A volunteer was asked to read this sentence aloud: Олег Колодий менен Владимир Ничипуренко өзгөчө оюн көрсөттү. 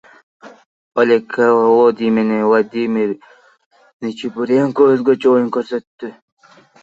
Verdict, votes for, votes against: rejected, 0, 2